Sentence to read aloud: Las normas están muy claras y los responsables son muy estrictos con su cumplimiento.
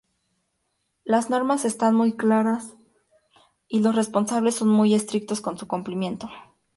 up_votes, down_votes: 2, 0